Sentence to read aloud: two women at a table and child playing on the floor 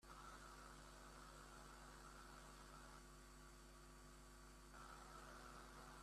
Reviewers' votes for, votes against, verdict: 0, 2, rejected